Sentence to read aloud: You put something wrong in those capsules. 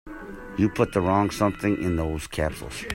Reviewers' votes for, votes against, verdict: 0, 2, rejected